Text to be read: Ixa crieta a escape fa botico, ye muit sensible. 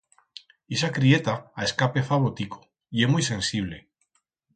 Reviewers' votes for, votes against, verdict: 4, 0, accepted